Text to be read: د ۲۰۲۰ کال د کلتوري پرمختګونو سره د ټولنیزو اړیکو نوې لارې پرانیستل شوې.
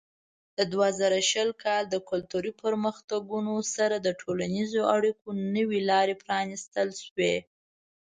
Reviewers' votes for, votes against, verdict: 0, 2, rejected